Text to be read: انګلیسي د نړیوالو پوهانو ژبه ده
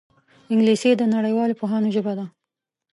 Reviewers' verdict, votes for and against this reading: accepted, 2, 0